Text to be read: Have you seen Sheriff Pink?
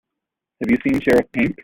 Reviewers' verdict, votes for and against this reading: rejected, 1, 2